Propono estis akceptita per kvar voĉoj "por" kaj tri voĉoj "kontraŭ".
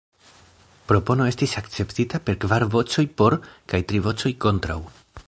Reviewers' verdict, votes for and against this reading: accepted, 2, 0